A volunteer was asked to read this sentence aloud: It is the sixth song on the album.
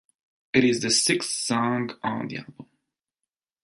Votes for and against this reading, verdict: 2, 0, accepted